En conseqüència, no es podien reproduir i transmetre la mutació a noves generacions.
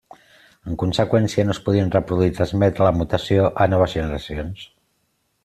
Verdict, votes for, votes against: accepted, 2, 0